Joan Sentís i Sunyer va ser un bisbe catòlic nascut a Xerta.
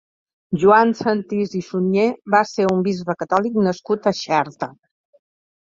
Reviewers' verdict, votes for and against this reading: accepted, 2, 0